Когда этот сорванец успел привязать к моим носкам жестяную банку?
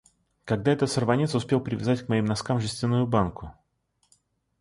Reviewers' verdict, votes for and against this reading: rejected, 0, 2